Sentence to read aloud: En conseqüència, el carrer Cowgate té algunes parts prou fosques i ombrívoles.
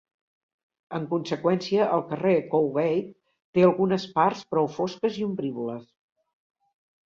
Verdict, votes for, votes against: accepted, 2, 0